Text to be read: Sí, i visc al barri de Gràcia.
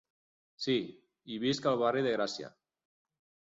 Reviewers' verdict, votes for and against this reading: accepted, 3, 0